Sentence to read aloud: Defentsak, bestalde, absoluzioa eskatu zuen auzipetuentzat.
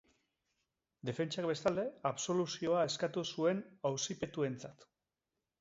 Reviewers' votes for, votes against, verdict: 2, 0, accepted